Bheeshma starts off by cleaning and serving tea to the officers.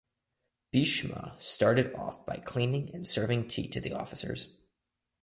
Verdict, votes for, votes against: rejected, 0, 2